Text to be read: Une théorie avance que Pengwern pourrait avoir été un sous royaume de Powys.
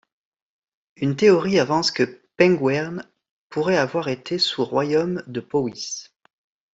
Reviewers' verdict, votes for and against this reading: rejected, 0, 2